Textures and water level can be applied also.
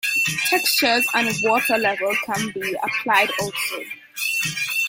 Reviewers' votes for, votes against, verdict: 2, 0, accepted